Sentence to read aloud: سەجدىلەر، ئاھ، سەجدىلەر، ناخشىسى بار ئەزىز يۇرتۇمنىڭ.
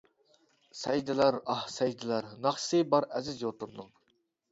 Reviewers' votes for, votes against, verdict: 1, 2, rejected